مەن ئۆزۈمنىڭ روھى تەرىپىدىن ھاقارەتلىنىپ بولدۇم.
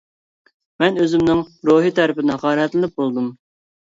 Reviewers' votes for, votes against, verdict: 1, 2, rejected